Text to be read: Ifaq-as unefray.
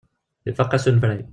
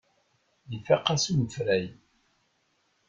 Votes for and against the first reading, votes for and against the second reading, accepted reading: 1, 2, 2, 1, second